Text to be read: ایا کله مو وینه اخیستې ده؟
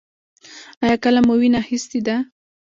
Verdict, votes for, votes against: rejected, 1, 2